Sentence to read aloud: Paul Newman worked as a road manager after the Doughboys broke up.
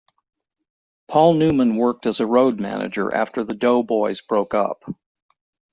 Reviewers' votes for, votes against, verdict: 2, 0, accepted